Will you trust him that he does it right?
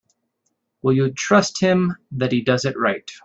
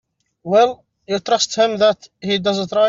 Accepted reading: first